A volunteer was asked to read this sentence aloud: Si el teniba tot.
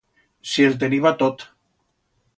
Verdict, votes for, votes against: accepted, 2, 0